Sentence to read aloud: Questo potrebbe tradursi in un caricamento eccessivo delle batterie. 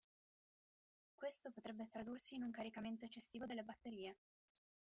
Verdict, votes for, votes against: rejected, 0, 2